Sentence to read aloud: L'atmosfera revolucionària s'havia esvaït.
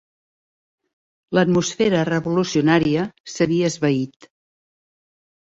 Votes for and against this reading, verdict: 5, 0, accepted